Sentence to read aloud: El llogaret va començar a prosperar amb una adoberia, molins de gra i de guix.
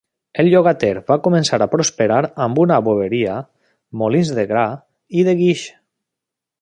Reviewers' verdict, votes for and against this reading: rejected, 0, 2